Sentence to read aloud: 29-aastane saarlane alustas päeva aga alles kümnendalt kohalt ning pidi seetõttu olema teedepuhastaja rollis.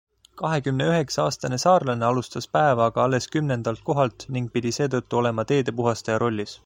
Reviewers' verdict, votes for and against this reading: rejected, 0, 2